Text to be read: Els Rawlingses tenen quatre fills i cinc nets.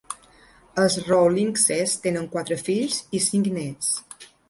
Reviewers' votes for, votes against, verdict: 2, 0, accepted